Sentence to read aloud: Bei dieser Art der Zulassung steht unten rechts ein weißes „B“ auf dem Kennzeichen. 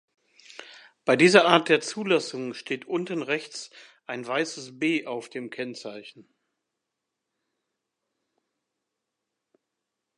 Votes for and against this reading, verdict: 2, 0, accepted